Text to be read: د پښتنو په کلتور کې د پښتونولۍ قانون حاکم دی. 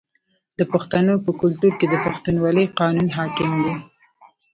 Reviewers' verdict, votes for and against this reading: rejected, 0, 2